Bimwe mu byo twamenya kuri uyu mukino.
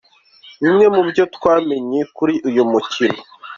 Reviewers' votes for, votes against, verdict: 2, 1, accepted